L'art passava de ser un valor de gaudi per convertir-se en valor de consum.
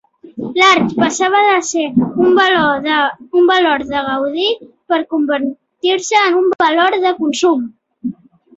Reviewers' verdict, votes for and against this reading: rejected, 0, 2